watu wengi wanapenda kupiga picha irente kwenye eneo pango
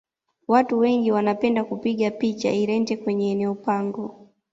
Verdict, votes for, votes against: accepted, 2, 0